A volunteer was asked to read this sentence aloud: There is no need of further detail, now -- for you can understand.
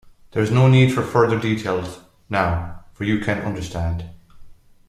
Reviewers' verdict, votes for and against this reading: rejected, 0, 2